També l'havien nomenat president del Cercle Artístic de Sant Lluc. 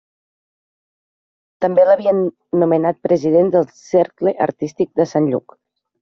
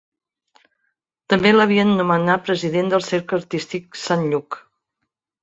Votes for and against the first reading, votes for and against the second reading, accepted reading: 3, 0, 1, 2, first